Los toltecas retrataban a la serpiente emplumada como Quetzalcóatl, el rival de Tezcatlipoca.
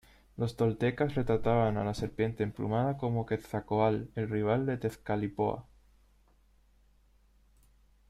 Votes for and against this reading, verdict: 0, 2, rejected